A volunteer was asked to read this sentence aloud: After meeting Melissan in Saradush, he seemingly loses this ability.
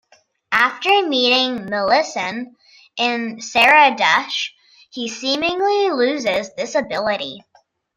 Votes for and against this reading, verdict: 2, 0, accepted